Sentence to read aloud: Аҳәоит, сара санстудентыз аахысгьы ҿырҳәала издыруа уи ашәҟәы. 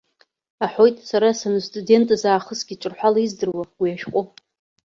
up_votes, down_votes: 2, 0